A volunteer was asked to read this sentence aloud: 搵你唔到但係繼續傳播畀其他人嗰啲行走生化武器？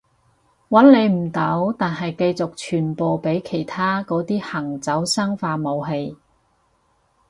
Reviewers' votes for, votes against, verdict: 2, 2, rejected